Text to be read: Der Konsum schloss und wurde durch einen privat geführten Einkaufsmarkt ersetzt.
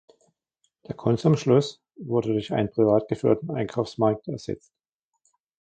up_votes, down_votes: 1, 2